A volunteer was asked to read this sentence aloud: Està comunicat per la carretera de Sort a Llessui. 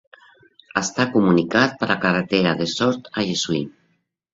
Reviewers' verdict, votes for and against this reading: rejected, 0, 2